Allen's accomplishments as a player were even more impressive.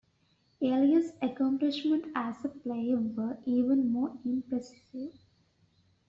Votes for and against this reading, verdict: 1, 2, rejected